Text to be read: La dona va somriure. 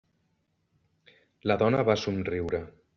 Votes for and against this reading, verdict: 3, 0, accepted